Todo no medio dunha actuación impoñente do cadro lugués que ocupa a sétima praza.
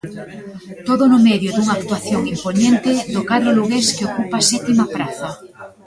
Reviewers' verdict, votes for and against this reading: rejected, 0, 2